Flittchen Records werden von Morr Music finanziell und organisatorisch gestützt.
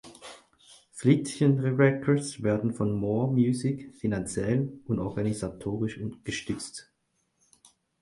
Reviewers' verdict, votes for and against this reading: rejected, 2, 4